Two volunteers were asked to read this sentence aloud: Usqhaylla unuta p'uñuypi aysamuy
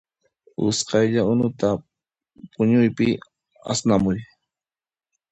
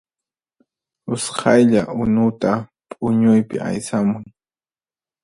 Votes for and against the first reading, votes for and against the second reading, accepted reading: 1, 2, 4, 0, second